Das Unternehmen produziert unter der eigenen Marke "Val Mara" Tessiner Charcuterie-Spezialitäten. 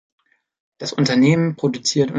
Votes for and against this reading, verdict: 0, 2, rejected